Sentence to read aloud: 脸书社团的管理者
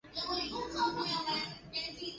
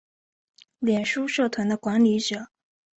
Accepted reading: second